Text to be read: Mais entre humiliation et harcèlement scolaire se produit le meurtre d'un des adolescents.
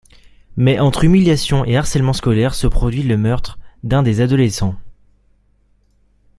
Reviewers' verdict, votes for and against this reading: accepted, 2, 0